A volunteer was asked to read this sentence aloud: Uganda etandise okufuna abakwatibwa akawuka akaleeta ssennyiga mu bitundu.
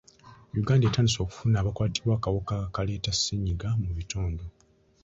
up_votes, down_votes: 2, 0